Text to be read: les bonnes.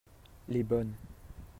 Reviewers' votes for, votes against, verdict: 2, 0, accepted